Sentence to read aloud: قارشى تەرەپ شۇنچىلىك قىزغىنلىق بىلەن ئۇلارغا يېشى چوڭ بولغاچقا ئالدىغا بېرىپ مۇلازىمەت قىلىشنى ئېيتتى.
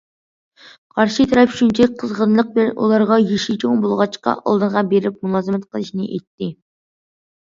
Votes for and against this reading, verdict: 2, 1, accepted